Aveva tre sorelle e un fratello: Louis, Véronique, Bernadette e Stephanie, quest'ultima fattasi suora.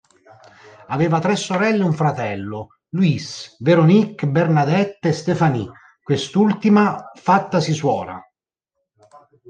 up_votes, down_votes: 2, 0